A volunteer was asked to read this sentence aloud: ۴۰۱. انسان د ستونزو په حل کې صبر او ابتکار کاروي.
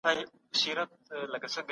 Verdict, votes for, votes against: rejected, 0, 2